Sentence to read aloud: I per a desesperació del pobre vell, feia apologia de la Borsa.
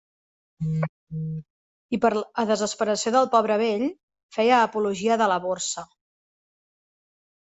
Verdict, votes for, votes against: rejected, 0, 2